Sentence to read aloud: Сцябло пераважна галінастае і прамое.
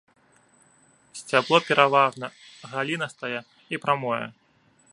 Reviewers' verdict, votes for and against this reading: rejected, 1, 2